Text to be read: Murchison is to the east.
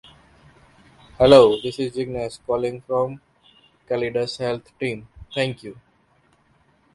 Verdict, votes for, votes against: rejected, 0, 2